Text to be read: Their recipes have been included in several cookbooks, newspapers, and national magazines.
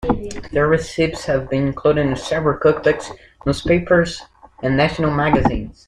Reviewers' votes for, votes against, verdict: 0, 2, rejected